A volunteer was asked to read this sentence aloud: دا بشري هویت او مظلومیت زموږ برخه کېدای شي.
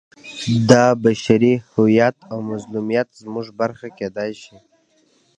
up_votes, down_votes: 2, 1